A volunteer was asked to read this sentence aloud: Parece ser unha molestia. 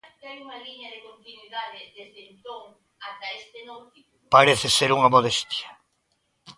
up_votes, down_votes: 0, 2